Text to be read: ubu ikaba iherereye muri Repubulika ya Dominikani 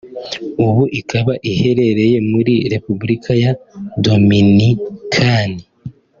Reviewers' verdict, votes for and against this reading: accepted, 2, 1